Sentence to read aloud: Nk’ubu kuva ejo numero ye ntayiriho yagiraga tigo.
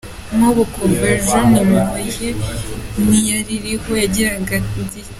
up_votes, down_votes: 0, 2